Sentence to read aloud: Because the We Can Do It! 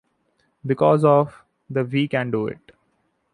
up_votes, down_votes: 1, 2